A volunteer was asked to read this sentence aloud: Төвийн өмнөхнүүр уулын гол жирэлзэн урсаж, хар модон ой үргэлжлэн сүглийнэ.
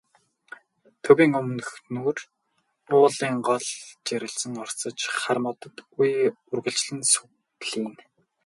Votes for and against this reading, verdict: 0, 2, rejected